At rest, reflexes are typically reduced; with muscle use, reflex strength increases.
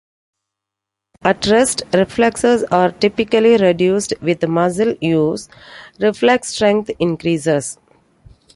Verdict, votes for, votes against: accepted, 2, 1